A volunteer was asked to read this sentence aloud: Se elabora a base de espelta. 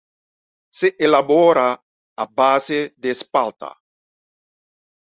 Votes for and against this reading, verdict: 1, 2, rejected